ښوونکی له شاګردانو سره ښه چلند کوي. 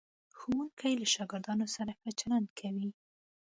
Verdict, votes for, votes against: accepted, 2, 0